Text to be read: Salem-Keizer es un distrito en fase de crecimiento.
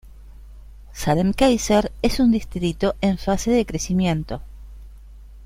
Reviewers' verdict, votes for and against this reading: accepted, 2, 0